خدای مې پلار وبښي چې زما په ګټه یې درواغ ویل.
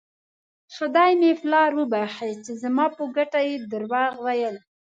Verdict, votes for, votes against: accepted, 2, 1